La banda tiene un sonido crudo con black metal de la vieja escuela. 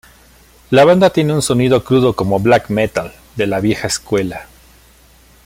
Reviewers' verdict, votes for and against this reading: rejected, 1, 2